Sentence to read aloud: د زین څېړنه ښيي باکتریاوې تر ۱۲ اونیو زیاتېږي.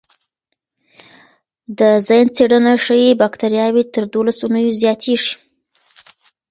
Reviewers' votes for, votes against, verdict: 0, 2, rejected